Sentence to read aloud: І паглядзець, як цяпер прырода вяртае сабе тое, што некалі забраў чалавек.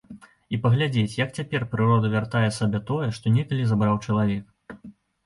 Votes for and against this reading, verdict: 2, 0, accepted